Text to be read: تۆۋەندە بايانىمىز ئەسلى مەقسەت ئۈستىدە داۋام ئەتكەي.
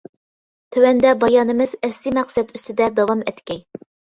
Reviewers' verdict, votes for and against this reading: accepted, 2, 0